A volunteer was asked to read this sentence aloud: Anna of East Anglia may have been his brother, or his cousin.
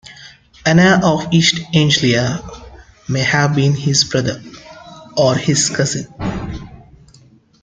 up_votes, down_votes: 2, 1